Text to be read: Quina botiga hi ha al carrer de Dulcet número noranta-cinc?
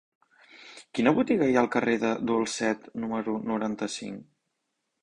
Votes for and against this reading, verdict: 2, 0, accepted